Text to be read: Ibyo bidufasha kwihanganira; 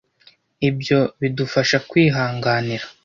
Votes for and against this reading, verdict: 2, 0, accepted